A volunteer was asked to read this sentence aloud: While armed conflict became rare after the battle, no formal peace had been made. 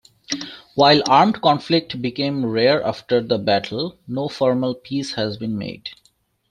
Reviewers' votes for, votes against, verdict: 0, 2, rejected